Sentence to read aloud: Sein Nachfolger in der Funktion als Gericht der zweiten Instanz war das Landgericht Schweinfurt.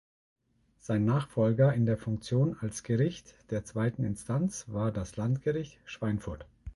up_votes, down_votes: 2, 0